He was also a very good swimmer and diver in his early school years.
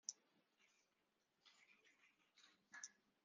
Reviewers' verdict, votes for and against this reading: rejected, 0, 2